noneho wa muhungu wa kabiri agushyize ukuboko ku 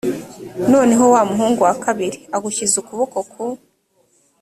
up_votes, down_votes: 2, 0